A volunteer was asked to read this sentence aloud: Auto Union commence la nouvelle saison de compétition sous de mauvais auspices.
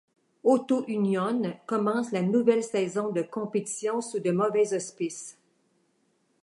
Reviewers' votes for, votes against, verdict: 2, 0, accepted